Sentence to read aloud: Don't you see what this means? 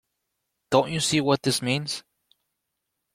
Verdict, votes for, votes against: accepted, 2, 0